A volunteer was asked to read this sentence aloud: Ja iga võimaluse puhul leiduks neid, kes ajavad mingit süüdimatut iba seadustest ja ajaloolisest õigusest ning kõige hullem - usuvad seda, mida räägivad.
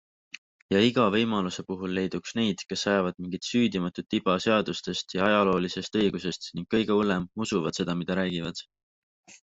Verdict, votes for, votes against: accepted, 3, 0